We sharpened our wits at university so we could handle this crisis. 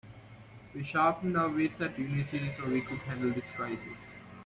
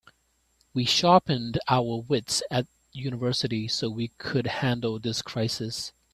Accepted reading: second